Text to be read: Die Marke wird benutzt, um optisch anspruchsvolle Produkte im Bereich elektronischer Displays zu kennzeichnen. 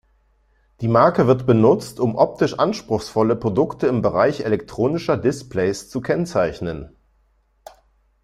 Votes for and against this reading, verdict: 2, 0, accepted